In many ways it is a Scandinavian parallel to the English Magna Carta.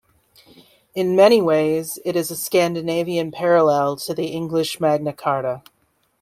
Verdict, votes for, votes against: accepted, 2, 0